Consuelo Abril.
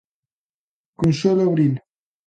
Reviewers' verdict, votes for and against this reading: accepted, 2, 0